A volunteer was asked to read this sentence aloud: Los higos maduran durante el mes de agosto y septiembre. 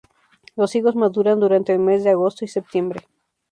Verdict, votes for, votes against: accepted, 2, 0